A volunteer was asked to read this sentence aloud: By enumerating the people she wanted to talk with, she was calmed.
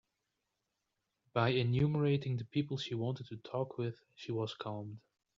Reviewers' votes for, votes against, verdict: 0, 2, rejected